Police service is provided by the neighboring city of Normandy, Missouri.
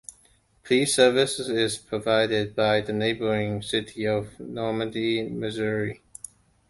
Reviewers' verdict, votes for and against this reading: rejected, 1, 2